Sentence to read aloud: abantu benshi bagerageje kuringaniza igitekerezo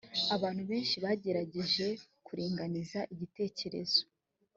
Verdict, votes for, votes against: accepted, 2, 1